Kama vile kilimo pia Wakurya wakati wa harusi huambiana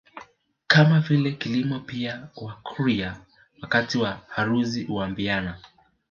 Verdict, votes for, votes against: rejected, 1, 2